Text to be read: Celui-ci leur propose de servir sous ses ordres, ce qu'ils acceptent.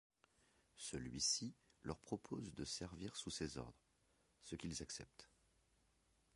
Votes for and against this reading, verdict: 1, 2, rejected